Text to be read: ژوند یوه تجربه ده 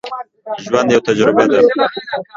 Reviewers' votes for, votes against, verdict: 0, 2, rejected